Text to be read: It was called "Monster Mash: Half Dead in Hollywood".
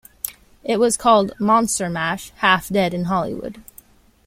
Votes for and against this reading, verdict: 1, 2, rejected